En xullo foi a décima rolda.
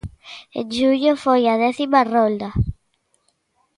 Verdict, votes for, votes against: accepted, 2, 1